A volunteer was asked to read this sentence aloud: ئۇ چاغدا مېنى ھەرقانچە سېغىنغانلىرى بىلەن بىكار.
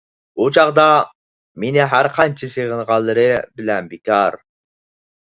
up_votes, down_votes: 4, 0